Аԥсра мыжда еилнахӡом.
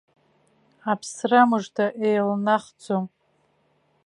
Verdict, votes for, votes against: accepted, 2, 0